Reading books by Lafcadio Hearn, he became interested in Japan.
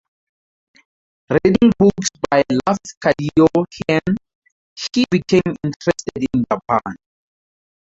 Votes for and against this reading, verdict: 2, 2, rejected